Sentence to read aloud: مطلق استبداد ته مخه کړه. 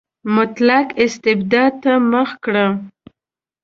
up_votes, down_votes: 0, 2